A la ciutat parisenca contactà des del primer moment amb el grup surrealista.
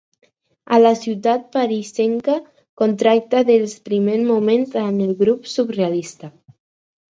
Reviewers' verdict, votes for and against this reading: rejected, 2, 4